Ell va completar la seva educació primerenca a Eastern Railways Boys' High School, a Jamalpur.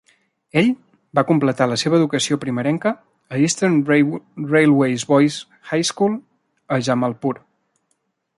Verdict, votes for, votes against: rejected, 0, 2